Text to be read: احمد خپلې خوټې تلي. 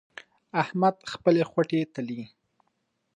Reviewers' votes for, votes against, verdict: 2, 0, accepted